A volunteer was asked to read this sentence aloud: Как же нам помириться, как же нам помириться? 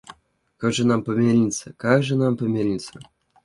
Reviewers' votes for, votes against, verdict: 2, 0, accepted